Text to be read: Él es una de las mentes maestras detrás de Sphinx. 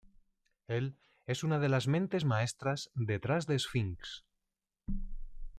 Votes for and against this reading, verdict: 2, 0, accepted